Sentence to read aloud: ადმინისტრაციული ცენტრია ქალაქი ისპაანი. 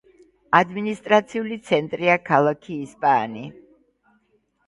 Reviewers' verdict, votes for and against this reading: accepted, 3, 1